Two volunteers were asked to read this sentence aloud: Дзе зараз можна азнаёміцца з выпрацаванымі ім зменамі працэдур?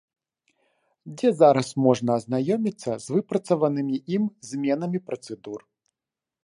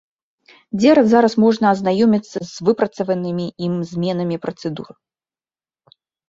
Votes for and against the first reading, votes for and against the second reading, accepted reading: 3, 0, 0, 2, first